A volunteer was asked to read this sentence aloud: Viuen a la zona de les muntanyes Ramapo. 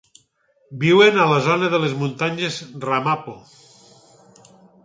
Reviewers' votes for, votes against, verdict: 6, 0, accepted